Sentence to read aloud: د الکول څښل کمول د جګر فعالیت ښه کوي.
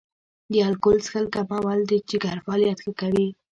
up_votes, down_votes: 1, 2